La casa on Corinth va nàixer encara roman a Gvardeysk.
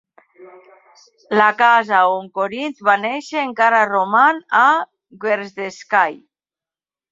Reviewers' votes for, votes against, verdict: 1, 2, rejected